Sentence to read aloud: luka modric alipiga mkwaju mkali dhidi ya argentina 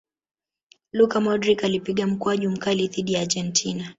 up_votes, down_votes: 3, 0